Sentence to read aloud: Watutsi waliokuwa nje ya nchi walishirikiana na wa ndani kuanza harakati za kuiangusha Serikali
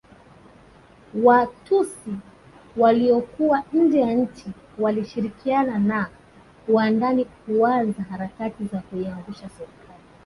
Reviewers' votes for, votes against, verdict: 0, 2, rejected